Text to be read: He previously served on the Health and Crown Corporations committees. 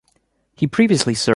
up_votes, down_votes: 0, 2